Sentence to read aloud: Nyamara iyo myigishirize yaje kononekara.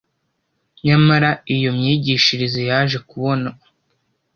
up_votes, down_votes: 1, 2